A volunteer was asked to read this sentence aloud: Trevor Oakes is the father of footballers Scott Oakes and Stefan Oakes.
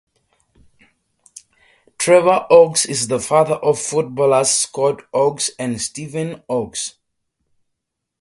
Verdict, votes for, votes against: accepted, 4, 0